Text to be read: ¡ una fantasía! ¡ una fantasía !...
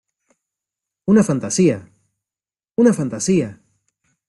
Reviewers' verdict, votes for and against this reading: accepted, 2, 0